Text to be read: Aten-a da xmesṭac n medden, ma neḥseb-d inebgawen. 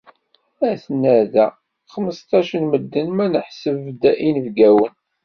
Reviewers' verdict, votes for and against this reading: accepted, 2, 0